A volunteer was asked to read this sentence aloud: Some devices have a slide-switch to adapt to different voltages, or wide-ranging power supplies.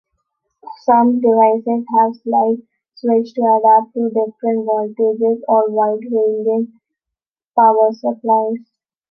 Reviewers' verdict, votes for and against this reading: rejected, 0, 2